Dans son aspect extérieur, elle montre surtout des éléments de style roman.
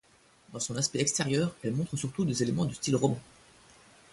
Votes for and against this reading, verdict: 1, 2, rejected